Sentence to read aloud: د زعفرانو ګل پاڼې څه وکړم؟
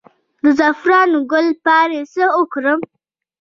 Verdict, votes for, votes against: rejected, 0, 2